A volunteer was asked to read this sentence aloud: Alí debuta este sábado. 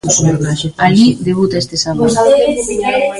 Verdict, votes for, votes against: rejected, 0, 2